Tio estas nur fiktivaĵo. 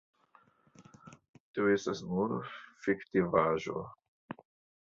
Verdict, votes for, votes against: accepted, 3, 0